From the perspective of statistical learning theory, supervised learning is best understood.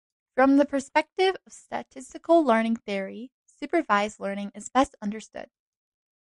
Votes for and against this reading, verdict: 2, 0, accepted